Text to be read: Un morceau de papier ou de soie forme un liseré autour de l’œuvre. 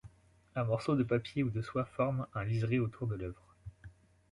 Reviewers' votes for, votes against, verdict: 2, 0, accepted